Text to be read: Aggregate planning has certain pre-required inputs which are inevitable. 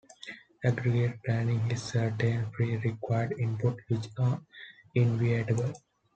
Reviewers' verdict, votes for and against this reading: rejected, 1, 2